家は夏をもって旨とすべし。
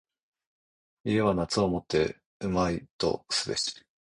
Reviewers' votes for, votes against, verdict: 1, 2, rejected